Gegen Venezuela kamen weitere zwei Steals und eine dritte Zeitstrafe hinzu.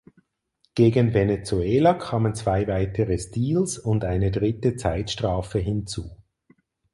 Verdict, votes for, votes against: rejected, 2, 4